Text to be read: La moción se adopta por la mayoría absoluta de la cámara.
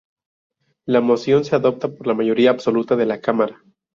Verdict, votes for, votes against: rejected, 0, 2